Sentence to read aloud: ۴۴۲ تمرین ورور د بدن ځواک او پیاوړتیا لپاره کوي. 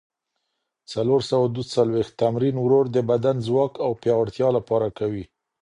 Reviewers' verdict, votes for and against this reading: rejected, 0, 2